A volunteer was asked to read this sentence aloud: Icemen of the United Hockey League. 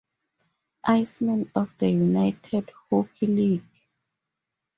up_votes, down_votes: 4, 0